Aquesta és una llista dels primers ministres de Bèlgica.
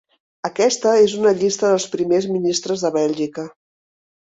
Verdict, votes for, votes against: accepted, 3, 0